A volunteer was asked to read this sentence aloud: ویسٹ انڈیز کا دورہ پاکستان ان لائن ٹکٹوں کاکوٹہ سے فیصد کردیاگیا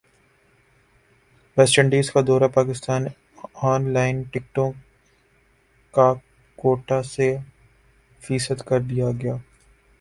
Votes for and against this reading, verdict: 0, 2, rejected